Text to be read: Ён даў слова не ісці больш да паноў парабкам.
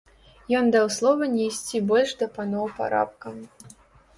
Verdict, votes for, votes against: rejected, 0, 2